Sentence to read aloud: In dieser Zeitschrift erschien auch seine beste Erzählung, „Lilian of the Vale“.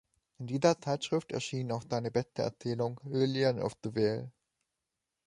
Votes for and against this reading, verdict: 0, 2, rejected